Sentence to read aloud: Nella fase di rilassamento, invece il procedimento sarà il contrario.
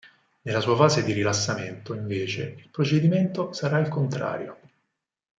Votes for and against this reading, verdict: 0, 4, rejected